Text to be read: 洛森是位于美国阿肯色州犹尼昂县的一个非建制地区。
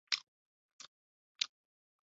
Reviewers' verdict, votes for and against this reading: rejected, 3, 4